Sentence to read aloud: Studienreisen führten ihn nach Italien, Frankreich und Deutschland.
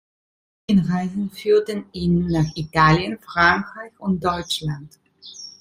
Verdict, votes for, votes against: rejected, 0, 2